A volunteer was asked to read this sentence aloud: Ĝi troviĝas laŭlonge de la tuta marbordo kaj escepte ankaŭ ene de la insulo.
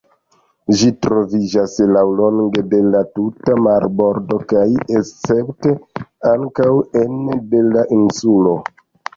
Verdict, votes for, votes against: accepted, 2, 1